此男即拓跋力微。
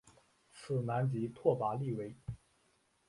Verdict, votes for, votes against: rejected, 0, 2